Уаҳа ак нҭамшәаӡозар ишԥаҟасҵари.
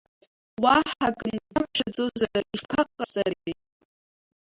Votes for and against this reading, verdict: 0, 2, rejected